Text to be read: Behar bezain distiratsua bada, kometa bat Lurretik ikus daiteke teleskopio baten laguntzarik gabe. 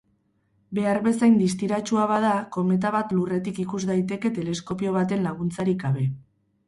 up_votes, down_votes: 4, 0